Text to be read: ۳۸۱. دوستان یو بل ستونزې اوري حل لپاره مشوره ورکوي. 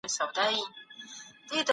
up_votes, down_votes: 0, 2